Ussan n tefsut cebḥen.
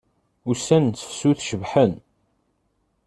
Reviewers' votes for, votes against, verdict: 2, 0, accepted